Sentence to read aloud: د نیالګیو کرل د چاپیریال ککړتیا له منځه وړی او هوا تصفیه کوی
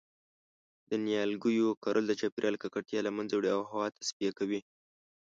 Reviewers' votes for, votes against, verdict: 2, 0, accepted